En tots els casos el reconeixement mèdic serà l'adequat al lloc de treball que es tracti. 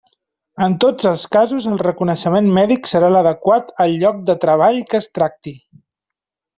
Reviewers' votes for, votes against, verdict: 3, 0, accepted